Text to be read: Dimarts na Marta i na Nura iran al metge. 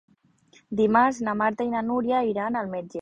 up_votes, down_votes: 1, 2